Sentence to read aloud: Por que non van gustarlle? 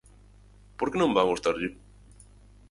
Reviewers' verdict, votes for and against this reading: rejected, 2, 2